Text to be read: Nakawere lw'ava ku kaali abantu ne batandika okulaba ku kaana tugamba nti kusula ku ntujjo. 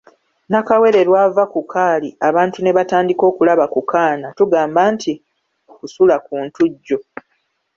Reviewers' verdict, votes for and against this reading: accepted, 2, 1